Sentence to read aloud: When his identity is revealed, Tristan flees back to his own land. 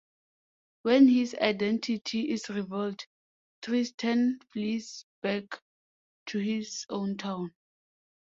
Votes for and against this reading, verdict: 0, 2, rejected